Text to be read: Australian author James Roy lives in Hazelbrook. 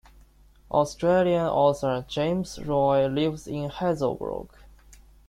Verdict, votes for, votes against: accepted, 2, 0